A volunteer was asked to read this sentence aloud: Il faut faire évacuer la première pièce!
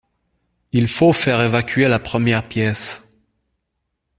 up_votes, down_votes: 2, 0